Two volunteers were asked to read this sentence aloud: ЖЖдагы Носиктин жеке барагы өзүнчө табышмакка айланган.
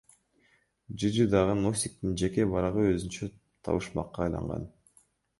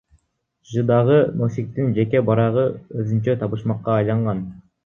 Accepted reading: second